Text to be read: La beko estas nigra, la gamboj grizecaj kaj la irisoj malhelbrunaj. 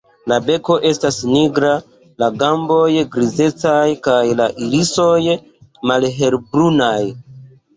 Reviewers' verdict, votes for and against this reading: accepted, 2, 0